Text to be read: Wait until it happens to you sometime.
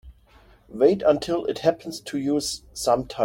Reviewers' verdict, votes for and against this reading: rejected, 0, 2